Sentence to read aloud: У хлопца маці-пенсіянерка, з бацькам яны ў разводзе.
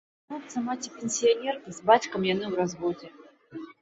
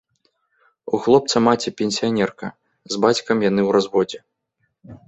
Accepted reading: second